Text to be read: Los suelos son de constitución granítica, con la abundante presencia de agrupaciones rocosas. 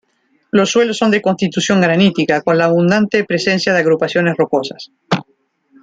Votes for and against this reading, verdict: 2, 0, accepted